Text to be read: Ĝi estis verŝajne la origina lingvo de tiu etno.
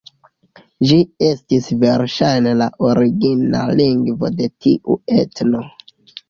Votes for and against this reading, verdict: 1, 2, rejected